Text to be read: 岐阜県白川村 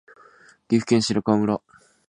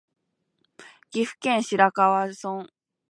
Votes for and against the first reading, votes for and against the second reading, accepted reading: 2, 0, 0, 2, first